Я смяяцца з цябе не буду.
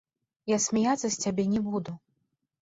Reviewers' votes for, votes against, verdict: 4, 0, accepted